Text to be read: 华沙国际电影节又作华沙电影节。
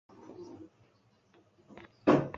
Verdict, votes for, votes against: rejected, 0, 2